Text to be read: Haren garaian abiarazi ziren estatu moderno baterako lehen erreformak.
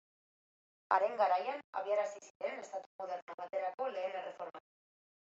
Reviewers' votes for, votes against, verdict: 2, 1, accepted